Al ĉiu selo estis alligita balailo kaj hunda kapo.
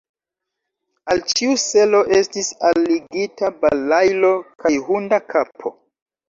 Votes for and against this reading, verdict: 1, 2, rejected